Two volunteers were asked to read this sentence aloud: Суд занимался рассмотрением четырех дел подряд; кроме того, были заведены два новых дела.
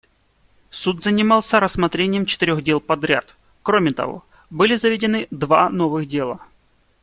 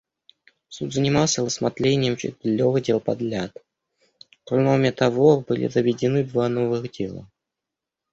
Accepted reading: first